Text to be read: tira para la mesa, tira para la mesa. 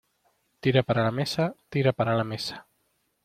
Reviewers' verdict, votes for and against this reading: accepted, 2, 0